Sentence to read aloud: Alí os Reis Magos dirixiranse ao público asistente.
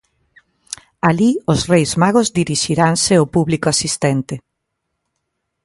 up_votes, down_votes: 2, 0